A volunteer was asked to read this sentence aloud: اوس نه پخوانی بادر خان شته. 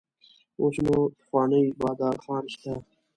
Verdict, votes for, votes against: rejected, 1, 2